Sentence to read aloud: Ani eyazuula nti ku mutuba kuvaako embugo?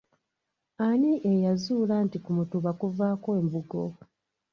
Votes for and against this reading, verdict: 1, 2, rejected